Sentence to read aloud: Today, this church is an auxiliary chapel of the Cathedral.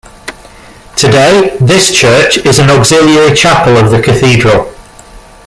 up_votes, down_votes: 1, 2